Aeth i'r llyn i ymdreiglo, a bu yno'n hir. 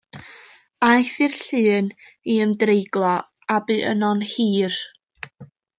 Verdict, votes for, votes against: rejected, 1, 2